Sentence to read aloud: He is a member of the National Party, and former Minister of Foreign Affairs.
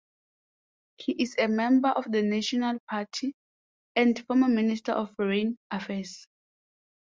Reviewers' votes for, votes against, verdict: 2, 0, accepted